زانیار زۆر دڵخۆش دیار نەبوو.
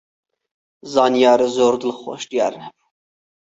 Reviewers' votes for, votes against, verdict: 4, 0, accepted